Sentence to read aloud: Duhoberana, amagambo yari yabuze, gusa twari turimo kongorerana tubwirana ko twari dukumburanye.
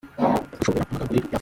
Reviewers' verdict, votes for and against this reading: rejected, 0, 2